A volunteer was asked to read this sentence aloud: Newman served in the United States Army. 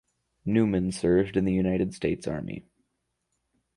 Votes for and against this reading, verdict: 4, 0, accepted